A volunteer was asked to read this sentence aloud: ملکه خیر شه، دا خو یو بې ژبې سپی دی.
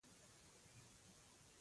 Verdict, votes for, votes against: rejected, 0, 2